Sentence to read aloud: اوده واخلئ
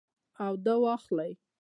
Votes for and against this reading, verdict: 0, 2, rejected